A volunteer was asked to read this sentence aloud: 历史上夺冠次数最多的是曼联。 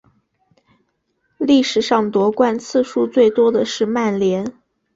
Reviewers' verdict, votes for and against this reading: accepted, 3, 0